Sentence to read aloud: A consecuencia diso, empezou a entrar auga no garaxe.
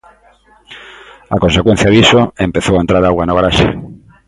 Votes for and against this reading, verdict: 2, 0, accepted